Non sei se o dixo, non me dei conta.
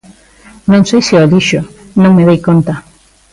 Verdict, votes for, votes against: accepted, 2, 0